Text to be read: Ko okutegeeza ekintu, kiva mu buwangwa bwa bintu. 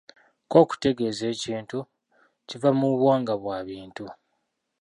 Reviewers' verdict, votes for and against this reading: rejected, 0, 2